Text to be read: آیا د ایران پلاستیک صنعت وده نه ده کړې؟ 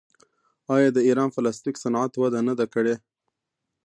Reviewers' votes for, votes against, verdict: 2, 0, accepted